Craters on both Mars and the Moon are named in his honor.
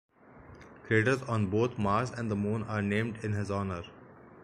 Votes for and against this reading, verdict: 4, 0, accepted